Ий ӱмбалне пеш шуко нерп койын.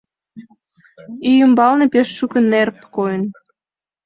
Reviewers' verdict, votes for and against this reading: accepted, 2, 0